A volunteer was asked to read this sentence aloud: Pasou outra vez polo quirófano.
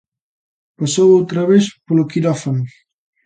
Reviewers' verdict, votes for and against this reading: accepted, 3, 0